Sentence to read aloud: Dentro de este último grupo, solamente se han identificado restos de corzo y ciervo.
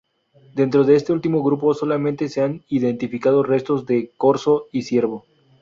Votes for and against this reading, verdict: 2, 0, accepted